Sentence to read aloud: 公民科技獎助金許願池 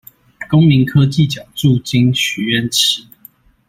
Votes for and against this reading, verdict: 2, 0, accepted